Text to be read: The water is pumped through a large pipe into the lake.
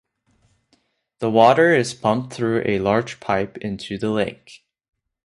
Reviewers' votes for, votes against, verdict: 2, 0, accepted